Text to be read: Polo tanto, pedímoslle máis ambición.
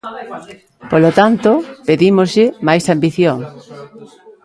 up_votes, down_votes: 1, 2